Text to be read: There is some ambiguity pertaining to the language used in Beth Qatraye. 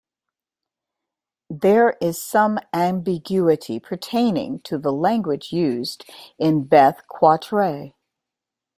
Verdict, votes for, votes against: accepted, 2, 0